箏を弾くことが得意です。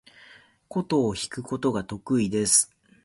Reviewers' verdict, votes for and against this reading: accepted, 2, 0